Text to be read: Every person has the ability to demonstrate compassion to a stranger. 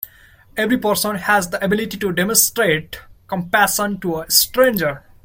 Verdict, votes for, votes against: accepted, 2, 0